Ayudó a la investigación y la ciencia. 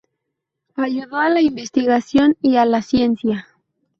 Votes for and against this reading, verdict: 4, 0, accepted